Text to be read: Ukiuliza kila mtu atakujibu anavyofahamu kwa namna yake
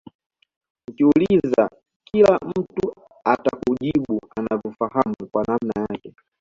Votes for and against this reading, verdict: 2, 0, accepted